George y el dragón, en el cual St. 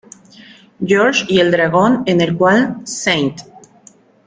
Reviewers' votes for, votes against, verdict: 2, 0, accepted